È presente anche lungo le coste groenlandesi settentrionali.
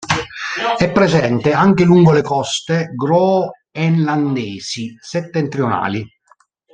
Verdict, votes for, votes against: rejected, 0, 2